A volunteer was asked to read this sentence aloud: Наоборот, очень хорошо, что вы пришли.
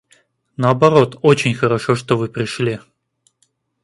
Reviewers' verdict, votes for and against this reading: accepted, 2, 0